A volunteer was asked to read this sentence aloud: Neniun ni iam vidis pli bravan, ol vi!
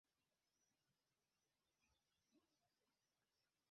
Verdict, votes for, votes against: rejected, 0, 2